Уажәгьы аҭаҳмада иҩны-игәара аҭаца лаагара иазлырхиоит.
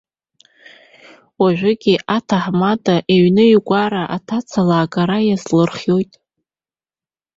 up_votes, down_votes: 0, 2